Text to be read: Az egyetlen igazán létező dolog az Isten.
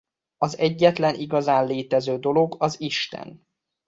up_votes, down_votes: 2, 0